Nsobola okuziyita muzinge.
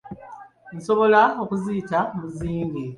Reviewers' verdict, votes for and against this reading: accepted, 2, 0